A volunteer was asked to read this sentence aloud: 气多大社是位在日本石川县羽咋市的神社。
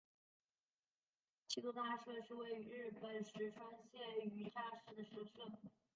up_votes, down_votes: 0, 2